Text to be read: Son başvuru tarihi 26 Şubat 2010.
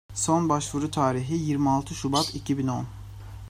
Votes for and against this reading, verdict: 0, 2, rejected